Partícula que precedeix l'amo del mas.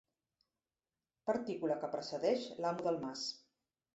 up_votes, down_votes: 3, 0